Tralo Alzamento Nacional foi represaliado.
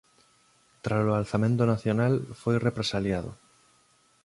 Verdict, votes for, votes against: accepted, 2, 0